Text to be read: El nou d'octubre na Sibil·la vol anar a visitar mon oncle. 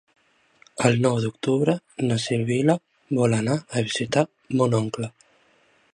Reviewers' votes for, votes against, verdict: 3, 0, accepted